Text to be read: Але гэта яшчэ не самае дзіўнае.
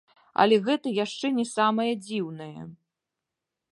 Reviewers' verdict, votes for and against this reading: rejected, 0, 2